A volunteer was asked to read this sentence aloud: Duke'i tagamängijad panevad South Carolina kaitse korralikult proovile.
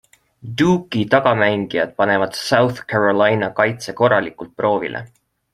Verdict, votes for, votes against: accepted, 2, 0